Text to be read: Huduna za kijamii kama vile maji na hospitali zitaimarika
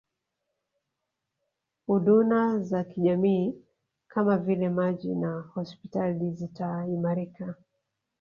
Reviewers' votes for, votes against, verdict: 0, 2, rejected